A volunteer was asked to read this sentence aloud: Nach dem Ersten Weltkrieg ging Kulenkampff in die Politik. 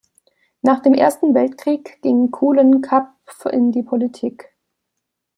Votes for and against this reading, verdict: 0, 2, rejected